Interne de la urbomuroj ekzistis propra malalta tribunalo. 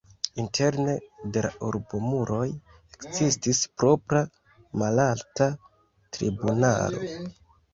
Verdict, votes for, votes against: rejected, 1, 2